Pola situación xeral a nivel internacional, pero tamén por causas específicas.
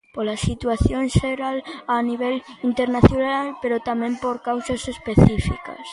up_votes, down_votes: 1, 2